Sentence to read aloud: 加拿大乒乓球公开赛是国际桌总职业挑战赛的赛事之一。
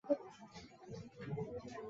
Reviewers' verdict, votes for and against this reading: accepted, 3, 0